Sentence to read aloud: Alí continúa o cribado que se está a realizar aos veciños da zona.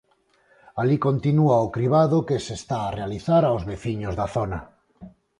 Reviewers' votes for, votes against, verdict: 0, 4, rejected